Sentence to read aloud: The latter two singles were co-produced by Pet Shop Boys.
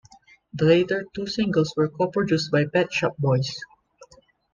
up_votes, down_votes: 0, 2